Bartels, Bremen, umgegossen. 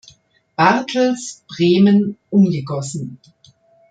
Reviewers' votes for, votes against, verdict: 2, 0, accepted